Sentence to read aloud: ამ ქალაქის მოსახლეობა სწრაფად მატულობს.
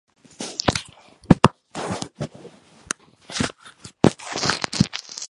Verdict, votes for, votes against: rejected, 1, 2